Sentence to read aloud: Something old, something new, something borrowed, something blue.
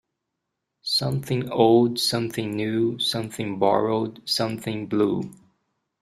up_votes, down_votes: 2, 0